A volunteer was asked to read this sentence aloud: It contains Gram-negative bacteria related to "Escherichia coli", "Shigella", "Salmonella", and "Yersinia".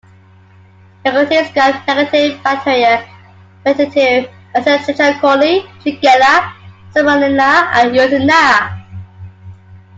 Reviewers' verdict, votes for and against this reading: rejected, 0, 2